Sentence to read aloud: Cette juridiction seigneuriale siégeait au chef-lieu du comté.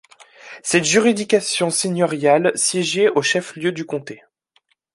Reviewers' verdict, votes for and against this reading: rejected, 1, 3